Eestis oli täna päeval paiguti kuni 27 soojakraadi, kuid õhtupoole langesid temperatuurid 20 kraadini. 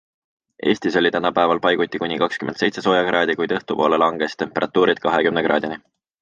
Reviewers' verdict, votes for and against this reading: rejected, 0, 2